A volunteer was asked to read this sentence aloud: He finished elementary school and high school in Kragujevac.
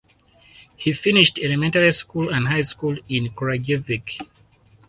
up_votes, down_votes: 4, 0